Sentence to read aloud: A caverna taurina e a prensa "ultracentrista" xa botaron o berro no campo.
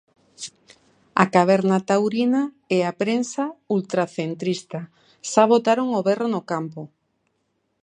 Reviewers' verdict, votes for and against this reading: accepted, 2, 0